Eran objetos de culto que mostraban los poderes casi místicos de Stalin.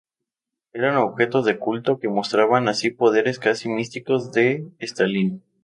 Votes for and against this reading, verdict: 0, 2, rejected